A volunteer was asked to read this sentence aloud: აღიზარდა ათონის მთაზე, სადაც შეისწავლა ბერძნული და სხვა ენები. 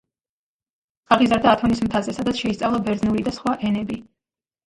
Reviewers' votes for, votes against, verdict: 2, 0, accepted